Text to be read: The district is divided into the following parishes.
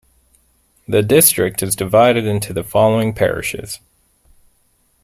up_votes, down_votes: 2, 0